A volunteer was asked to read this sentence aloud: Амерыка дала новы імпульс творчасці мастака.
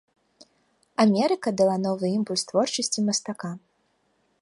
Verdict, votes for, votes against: accepted, 2, 0